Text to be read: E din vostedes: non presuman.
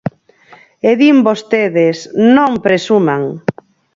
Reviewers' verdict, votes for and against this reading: accepted, 4, 0